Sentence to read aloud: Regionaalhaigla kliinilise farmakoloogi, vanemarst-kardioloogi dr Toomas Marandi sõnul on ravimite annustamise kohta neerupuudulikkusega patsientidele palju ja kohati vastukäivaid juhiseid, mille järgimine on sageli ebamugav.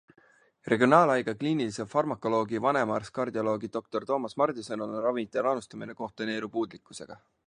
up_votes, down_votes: 0, 2